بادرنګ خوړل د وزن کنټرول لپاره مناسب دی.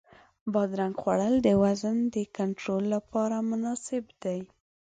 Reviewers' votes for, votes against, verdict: 1, 2, rejected